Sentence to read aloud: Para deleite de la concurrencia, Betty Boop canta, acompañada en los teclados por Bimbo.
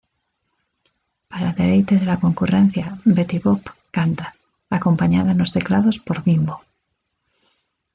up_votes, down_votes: 2, 1